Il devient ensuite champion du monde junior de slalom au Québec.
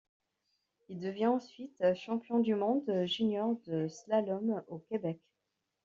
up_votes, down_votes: 2, 1